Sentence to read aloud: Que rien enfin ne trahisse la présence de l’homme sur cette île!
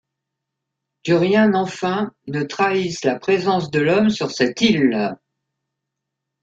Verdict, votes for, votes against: accepted, 2, 0